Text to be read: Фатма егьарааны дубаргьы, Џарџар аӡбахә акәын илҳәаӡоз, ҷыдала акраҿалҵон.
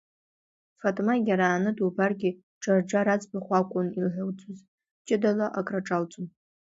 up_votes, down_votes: 2, 0